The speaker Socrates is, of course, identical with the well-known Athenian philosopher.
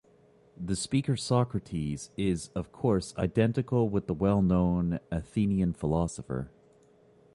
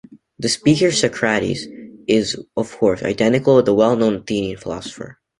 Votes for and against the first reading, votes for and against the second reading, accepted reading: 2, 0, 1, 2, first